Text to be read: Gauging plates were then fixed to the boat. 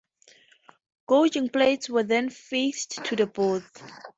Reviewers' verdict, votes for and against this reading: rejected, 0, 4